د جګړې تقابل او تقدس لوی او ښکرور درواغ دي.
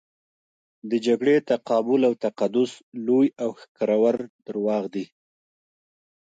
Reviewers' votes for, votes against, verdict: 1, 2, rejected